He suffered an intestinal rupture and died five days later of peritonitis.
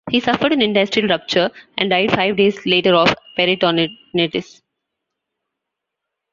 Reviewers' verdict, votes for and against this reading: rejected, 0, 2